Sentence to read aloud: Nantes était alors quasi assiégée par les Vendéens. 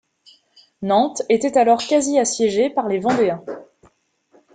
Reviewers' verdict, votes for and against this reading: accepted, 2, 0